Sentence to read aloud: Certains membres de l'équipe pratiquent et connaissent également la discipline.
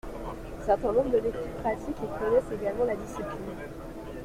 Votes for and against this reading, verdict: 2, 1, accepted